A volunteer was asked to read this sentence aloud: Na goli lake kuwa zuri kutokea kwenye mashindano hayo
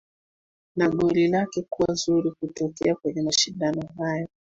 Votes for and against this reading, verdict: 2, 1, accepted